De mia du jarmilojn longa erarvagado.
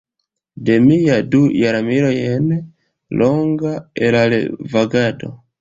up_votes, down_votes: 2, 0